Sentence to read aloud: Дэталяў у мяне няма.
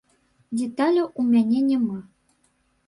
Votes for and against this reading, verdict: 1, 2, rejected